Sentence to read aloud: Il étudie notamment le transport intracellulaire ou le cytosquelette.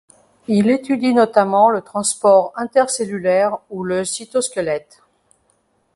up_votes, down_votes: 1, 2